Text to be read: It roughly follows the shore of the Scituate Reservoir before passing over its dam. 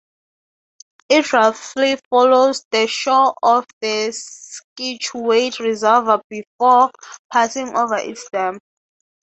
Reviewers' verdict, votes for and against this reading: accepted, 3, 0